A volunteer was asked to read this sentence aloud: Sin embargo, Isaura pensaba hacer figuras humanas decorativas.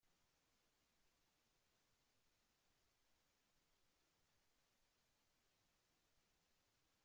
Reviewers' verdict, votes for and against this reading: rejected, 0, 2